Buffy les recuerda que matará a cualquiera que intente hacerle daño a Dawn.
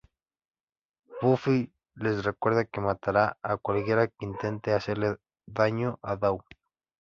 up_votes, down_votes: 2, 1